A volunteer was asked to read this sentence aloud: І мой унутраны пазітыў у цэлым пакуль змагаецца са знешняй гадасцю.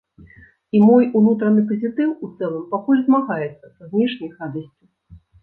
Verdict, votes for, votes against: rejected, 1, 2